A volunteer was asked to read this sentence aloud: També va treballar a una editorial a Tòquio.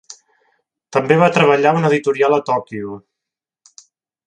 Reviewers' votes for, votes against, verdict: 2, 0, accepted